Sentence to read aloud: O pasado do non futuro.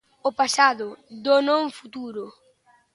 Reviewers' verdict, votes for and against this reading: accepted, 2, 0